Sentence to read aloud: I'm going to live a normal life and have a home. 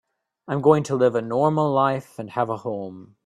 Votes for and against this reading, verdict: 2, 0, accepted